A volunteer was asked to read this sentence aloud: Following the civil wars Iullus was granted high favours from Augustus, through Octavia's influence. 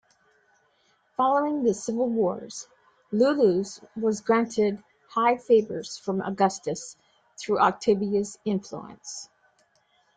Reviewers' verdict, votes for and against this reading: accepted, 2, 0